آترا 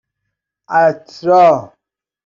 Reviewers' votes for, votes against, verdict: 1, 2, rejected